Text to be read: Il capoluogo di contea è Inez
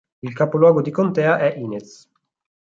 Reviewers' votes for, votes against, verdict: 4, 0, accepted